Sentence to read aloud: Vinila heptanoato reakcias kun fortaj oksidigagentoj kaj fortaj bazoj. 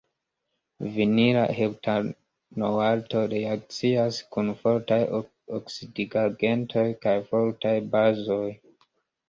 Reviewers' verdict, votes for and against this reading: rejected, 0, 2